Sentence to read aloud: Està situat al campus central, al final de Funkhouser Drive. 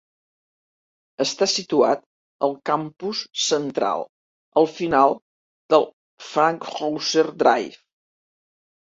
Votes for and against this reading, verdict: 0, 2, rejected